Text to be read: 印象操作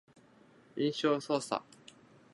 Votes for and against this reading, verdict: 2, 0, accepted